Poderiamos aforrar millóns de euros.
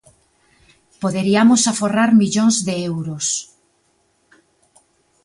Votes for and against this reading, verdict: 2, 0, accepted